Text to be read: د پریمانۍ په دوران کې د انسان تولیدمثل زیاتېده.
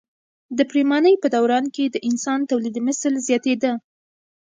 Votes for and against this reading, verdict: 2, 1, accepted